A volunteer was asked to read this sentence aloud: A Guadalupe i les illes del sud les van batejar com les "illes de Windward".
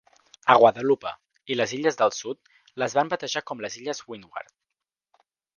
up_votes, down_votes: 1, 2